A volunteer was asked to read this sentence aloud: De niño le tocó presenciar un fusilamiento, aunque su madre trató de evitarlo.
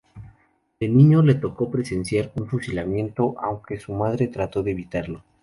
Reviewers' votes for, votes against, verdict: 2, 2, rejected